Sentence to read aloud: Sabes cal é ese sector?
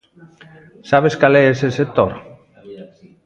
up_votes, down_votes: 2, 0